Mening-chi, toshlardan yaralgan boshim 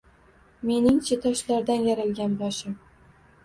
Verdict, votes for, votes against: rejected, 1, 2